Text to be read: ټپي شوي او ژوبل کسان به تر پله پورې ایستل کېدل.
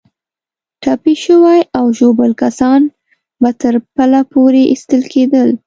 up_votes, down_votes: 0, 2